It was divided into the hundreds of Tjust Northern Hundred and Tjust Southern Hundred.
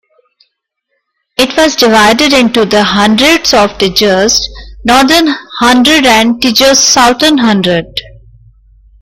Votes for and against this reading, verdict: 2, 1, accepted